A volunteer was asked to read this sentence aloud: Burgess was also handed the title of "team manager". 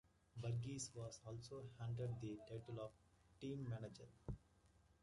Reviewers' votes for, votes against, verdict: 2, 1, accepted